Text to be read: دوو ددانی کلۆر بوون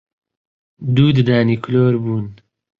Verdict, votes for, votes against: accepted, 2, 0